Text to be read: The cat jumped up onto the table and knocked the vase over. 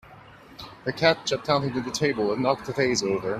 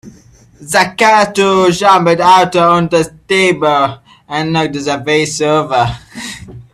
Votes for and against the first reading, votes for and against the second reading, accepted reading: 3, 2, 0, 2, first